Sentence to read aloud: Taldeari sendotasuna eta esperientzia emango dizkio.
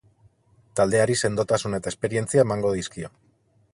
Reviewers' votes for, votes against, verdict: 8, 0, accepted